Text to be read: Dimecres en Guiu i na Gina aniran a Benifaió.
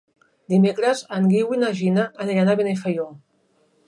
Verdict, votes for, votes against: accepted, 2, 0